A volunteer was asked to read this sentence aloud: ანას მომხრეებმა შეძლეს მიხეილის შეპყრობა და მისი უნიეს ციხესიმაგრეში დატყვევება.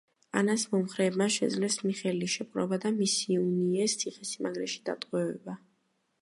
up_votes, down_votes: 2, 0